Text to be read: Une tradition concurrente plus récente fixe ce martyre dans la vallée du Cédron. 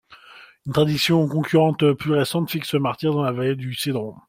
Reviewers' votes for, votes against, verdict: 2, 1, accepted